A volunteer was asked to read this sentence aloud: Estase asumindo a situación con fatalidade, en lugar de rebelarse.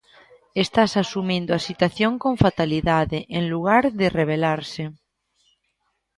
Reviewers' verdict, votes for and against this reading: rejected, 0, 2